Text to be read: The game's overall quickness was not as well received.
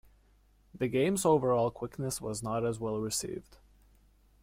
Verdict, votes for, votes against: accepted, 2, 0